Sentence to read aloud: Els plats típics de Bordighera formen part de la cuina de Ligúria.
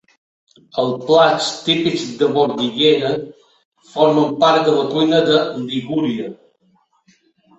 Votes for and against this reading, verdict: 3, 0, accepted